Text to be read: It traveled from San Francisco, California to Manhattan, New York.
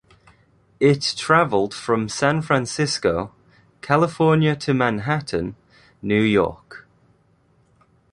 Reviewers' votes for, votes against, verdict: 2, 0, accepted